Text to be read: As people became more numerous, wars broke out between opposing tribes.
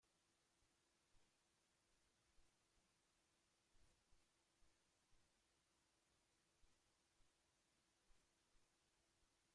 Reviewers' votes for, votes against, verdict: 0, 2, rejected